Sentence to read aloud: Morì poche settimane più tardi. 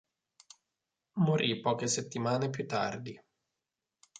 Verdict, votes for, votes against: accepted, 3, 0